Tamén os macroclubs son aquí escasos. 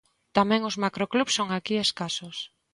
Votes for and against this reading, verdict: 2, 0, accepted